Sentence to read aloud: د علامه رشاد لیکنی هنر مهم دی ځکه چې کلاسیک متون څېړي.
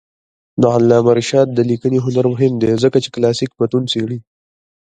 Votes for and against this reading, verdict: 2, 1, accepted